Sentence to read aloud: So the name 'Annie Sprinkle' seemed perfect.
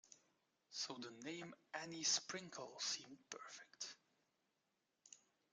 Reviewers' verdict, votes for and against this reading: rejected, 1, 2